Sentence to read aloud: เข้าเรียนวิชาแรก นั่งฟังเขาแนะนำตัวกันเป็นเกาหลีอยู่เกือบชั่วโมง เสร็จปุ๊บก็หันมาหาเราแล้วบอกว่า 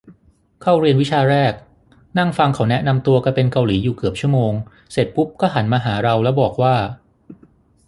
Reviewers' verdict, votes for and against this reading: rejected, 3, 6